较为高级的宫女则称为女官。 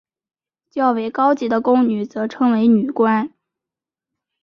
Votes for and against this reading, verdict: 1, 2, rejected